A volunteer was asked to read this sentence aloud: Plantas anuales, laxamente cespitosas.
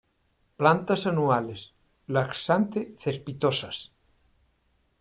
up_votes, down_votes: 0, 2